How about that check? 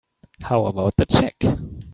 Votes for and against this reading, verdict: 1, 2, rejected